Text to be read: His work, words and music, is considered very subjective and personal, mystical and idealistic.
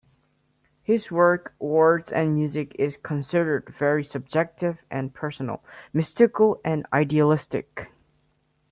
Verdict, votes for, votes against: rejected, 0, 2